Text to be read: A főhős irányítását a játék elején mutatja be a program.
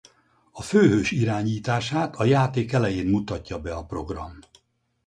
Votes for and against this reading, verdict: 6, 0, accepted